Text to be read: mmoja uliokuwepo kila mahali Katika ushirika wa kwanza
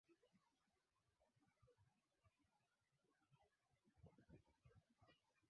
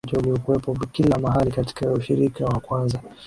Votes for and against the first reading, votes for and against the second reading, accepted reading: 0, 2, 2, 1, second